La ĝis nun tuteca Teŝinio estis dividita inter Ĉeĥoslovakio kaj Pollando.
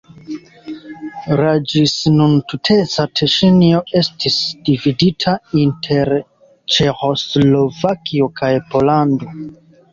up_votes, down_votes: 2, 0